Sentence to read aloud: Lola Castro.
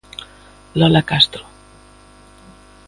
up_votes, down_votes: 2, 0